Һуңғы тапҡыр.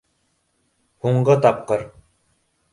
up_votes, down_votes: 2, 0